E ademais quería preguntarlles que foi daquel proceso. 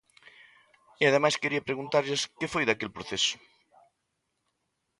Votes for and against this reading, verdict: 2, 0, accepted